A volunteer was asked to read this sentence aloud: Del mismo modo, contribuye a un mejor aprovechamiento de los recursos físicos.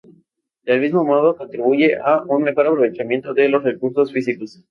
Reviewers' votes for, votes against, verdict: 0, 2, rejected